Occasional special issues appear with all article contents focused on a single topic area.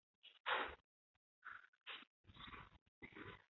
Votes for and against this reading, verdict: 0, 2, rejected